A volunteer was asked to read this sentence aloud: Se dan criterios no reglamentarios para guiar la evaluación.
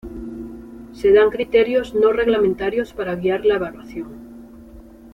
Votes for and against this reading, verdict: 2, 0, accepted